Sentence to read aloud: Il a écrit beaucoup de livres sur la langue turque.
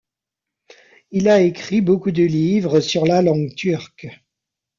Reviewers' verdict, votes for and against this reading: accepted, 2, 0